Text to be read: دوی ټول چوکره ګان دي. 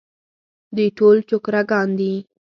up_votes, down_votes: 4, 0